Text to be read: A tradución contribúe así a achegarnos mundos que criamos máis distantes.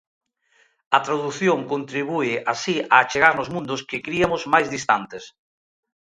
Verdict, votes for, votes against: rejected, 0, 2